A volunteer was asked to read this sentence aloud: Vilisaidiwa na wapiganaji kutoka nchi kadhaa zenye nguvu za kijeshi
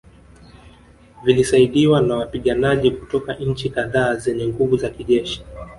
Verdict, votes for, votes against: rejected, 0, 2